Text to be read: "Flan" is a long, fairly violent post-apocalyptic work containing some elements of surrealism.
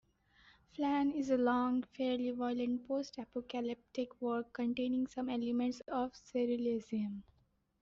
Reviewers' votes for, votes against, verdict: 2, 0, accepted